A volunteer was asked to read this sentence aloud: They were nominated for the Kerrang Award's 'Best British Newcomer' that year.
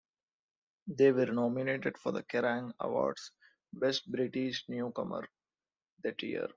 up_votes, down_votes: 2, 0